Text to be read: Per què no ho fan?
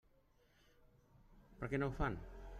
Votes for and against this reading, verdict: 3, 0, accepted